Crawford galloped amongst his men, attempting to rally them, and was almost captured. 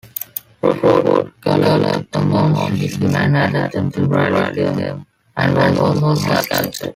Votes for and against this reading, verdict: 1, 2, rejected